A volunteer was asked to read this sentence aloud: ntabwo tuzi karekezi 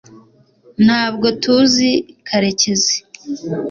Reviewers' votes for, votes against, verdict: 2, 0, accepted